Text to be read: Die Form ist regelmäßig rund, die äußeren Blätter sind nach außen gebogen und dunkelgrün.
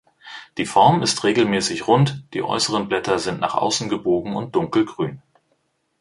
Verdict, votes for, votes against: accepted, 2, 0